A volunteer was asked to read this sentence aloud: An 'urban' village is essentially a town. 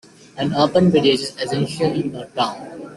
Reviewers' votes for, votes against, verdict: 2, 1, accepted